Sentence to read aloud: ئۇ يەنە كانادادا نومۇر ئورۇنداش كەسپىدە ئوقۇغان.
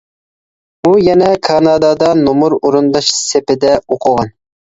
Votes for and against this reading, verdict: 0, 2, rejected